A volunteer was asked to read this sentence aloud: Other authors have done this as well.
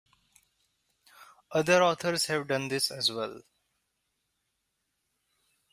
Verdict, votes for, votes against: accepted, 2, 0